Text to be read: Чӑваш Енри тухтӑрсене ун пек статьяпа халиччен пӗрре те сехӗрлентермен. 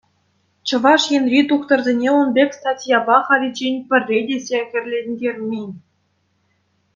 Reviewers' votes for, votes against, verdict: 2, 0, accepted